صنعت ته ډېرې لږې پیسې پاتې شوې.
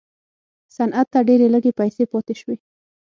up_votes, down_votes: 6, 0